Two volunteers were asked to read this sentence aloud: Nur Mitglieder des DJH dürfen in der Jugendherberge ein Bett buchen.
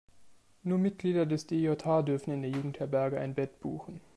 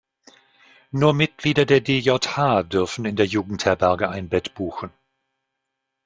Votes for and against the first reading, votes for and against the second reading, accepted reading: 2, 0, 1, 2, first